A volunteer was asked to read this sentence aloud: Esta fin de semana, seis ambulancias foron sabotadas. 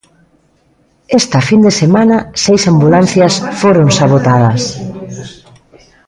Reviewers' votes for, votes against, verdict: 1, 2, rejected